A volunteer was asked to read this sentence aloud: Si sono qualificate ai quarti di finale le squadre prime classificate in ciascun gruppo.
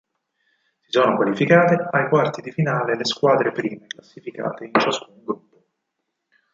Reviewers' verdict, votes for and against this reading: rejected, 0, 4